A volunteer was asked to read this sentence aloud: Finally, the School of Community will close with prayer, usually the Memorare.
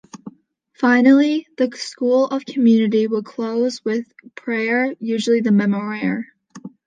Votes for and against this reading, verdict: 2, 0, accepted